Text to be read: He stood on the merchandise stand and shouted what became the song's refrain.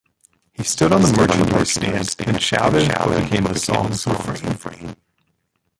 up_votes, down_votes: 1, 2